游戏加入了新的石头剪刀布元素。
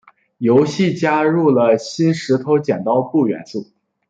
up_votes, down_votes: 1, 2